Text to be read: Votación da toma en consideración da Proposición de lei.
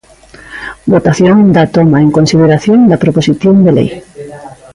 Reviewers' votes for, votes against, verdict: 2, 0, accepted